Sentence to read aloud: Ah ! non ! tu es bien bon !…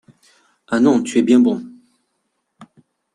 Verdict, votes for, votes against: accepted, 2, 0